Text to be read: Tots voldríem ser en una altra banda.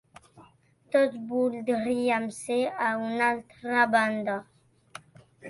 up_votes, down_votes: 3, 0